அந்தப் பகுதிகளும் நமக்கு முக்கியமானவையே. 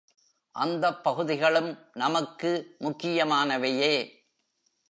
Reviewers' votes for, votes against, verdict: 2, 0, accepted